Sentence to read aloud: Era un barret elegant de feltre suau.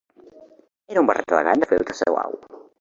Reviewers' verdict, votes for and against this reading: rejected, 1, 2